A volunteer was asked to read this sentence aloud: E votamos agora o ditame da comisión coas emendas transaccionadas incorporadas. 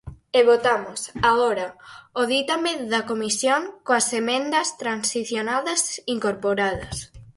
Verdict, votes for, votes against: rejected, 0, 4